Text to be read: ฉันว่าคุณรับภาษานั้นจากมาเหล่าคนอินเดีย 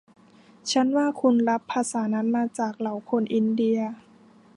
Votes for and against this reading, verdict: 2, 0, accepted